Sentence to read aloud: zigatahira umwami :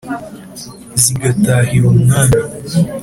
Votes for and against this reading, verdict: 4, 0, accepted